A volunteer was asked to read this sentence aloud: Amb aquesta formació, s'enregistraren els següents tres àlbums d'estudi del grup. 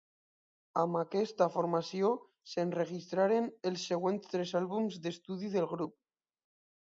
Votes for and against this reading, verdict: 2, 0, accepted